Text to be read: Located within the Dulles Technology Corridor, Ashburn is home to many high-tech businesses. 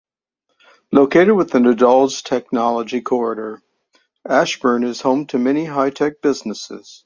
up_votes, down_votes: 2, 0